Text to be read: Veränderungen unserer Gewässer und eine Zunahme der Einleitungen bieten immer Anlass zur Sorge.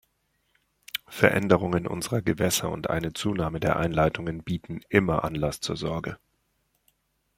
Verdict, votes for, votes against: accepted, 2, 0